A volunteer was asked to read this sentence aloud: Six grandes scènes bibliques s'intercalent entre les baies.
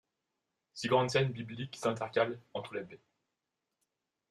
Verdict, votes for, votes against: accepted, 2, 0